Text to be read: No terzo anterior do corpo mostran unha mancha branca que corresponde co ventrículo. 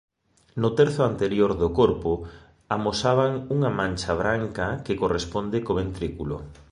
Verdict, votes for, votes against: rejected, 0, 2